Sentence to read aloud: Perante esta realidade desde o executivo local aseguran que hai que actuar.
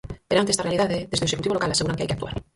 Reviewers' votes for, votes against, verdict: 2, 4, rejected